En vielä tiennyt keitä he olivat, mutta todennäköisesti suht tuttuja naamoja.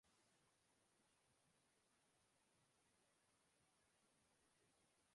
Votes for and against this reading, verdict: 0, 2, rejected